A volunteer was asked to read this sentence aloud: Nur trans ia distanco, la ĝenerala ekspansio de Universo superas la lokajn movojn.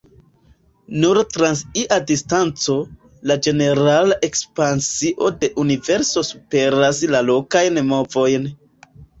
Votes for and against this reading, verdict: 2, 1, accepted